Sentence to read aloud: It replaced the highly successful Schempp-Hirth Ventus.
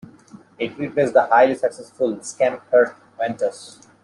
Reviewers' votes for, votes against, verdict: 1, 2, rejected